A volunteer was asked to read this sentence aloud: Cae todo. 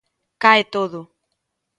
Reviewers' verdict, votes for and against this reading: accepted, 2, 0